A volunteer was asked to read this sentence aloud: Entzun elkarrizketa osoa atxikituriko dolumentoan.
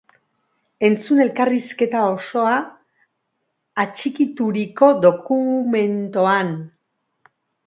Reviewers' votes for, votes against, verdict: 1, 2, rejected